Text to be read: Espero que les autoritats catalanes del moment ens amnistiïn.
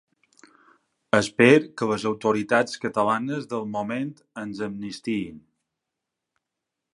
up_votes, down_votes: 0, 2